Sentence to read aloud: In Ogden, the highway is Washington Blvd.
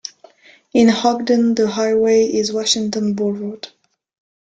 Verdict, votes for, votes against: accepted, 2, 1